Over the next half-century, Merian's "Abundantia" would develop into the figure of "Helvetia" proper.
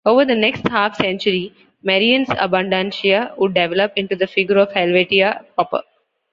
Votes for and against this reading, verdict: 2, 0, accepted